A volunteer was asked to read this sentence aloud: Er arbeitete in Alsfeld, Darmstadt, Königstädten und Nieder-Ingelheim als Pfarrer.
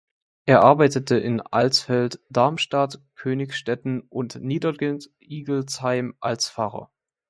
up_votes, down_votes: 1, 2